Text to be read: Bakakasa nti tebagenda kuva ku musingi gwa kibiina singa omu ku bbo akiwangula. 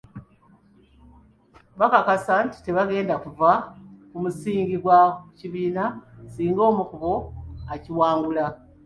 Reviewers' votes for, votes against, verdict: 2, 1, accepted